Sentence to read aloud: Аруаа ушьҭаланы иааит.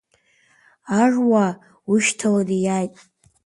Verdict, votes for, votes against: accepted, 2, 1